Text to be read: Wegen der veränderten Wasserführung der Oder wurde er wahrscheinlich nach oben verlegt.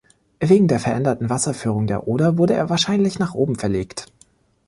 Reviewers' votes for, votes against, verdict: 2, 0, accepted